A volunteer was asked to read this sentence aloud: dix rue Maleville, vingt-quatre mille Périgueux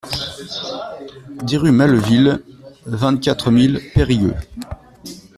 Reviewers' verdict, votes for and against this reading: rejected, 1, 2